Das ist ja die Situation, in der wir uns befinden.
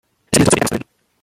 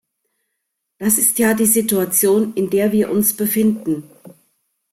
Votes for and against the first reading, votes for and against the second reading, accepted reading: 0, 2, 2, 0, second